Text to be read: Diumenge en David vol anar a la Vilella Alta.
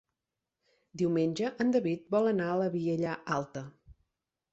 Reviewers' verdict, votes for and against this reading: rejected, 0, 4